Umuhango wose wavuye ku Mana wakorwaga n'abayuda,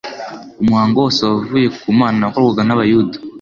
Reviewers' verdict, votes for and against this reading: accepted, 2, 0